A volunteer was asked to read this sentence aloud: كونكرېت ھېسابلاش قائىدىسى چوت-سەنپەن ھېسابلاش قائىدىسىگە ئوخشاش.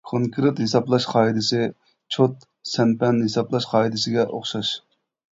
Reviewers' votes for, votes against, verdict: 2, 0, accepted